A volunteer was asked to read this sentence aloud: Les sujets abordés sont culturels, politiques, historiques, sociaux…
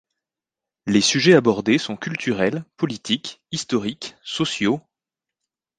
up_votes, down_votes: 2, 0